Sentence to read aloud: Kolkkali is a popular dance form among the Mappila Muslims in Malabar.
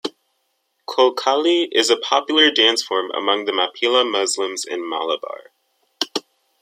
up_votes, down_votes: 2, 0